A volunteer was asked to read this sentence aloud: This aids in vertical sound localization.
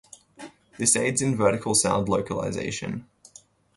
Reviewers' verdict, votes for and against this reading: rejected, 2, 2